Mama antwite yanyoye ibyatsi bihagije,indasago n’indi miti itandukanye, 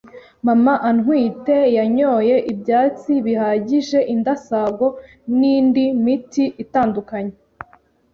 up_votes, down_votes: 2, 0